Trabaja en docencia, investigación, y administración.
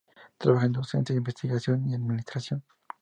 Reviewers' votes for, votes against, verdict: 2, 0, accepted